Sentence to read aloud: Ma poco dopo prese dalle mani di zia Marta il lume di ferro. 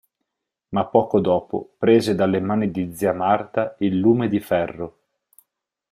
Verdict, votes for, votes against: accepted, 4, 0